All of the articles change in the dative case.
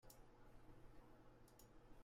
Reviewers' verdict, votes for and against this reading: rejected, 0, 2